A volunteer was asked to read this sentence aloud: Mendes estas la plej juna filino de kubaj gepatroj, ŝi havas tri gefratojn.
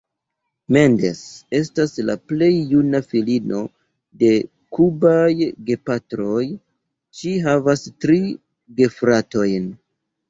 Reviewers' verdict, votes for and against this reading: accepted, 2, 0